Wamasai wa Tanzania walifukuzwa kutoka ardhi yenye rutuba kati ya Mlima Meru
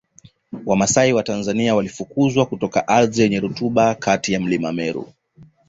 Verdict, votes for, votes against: accepted, 2, 0